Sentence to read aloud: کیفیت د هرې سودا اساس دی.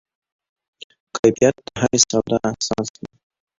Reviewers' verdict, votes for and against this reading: accepted, 2, 1